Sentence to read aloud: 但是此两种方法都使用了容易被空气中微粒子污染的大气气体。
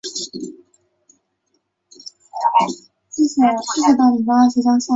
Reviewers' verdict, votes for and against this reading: accepted, 2, 1